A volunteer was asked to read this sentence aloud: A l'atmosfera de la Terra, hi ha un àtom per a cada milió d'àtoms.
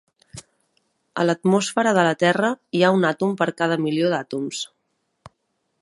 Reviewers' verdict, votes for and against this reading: rejected, 0, 2